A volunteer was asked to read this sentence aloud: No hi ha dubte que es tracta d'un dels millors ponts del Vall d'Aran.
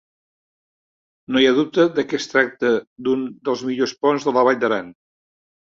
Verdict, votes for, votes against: rejected, 0, 2